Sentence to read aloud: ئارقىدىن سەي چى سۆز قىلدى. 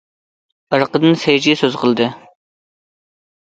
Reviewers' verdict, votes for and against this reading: accepted, 2, 0